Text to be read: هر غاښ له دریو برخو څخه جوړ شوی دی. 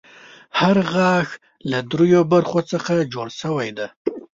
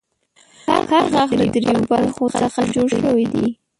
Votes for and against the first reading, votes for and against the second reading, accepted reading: 2, 0, 0, 2, first